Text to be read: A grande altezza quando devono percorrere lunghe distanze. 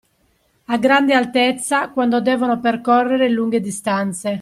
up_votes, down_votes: 2, 0